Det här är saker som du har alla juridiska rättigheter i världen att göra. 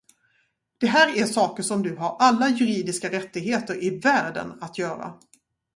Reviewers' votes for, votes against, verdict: 2, 2, rejected